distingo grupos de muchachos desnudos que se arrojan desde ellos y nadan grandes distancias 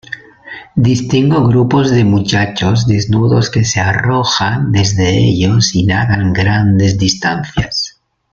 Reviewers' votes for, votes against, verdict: 2, 0, accepted